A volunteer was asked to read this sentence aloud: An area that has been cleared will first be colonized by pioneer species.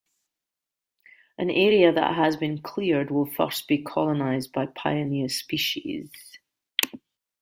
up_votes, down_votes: 2, 0